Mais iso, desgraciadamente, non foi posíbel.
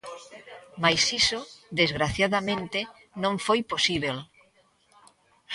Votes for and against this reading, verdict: 2, 0, accepted